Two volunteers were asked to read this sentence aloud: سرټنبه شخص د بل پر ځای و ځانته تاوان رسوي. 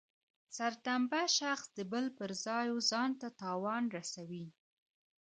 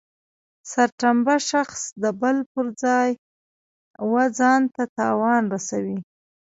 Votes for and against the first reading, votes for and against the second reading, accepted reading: 3, 0, 0, 2, first